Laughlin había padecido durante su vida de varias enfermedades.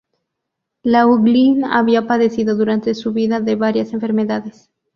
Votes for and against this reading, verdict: 2, 0, accepted